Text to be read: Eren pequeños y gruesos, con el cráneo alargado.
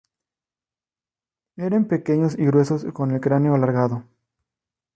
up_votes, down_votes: 4, 0